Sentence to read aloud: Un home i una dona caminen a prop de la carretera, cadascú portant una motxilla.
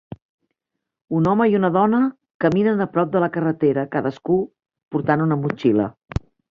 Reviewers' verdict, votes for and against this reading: rejected, 1, 2